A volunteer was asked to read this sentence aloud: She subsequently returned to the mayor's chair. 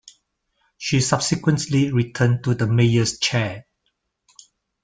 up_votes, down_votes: 2, 3